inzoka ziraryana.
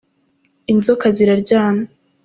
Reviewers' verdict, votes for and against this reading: accepted, 3, 0